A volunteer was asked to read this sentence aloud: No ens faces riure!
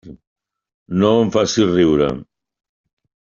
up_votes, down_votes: 0, 2